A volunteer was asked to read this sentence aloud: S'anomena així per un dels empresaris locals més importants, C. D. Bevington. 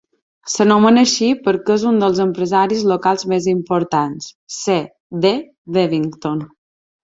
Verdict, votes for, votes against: rejected, 0, 2